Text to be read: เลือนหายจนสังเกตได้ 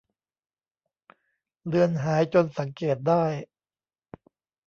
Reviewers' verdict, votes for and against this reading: accepted, 2, 0